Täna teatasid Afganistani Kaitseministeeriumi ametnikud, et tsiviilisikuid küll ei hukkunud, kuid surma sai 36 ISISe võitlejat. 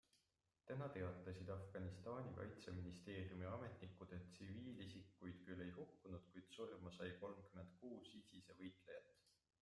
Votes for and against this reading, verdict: 0, 2, rejected